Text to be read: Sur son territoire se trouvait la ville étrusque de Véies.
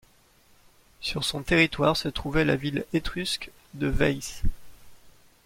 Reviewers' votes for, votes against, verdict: 2, 0, accepted